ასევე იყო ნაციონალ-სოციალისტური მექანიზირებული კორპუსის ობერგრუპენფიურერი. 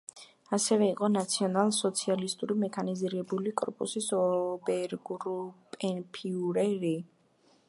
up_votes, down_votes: 1, 2